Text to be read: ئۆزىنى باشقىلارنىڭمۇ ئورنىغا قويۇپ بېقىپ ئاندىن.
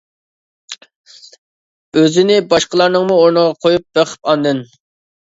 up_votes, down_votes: 2, 0